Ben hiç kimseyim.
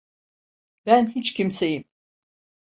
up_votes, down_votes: 2, 0